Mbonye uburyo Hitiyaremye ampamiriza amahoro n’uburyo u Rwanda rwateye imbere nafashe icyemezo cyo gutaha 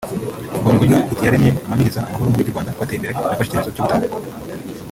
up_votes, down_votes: 0, 2